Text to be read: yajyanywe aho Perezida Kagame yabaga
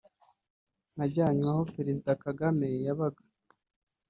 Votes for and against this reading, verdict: 1, 2, rejected